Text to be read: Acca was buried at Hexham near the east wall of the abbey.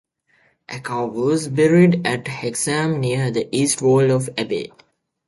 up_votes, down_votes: 0, 2